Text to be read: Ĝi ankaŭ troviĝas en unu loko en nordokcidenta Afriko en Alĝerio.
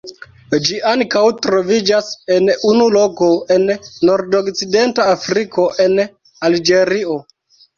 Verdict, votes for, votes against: accepted, 2, 0